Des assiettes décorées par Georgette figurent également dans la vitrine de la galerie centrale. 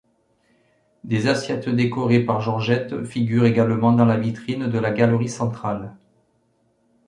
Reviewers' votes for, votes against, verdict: 2, 0, accepted